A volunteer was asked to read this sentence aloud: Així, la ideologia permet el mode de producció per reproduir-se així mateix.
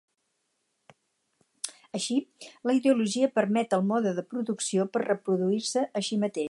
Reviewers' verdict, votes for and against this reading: rejected, 2, 2